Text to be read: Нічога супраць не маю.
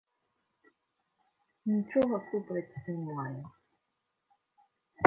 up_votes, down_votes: 0, 2